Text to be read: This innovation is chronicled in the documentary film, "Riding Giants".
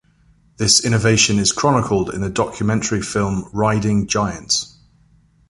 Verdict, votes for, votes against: accepted, 2, 0